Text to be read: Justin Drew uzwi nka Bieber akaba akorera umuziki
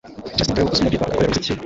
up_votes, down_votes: 0, 2